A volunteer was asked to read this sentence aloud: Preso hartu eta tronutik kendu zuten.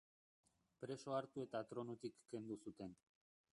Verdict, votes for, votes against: rejected, 2, 2